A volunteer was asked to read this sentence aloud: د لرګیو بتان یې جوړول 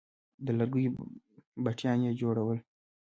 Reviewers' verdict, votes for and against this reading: rejected, 1, 2